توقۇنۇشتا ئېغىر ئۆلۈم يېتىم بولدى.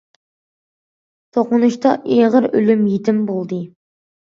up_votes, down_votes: 2, 0